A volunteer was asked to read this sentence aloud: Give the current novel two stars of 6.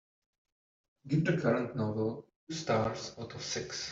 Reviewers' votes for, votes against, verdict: 0, 2, rejected